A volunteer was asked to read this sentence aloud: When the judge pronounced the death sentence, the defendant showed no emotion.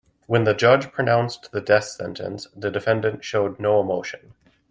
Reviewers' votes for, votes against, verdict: 2, 0, accepted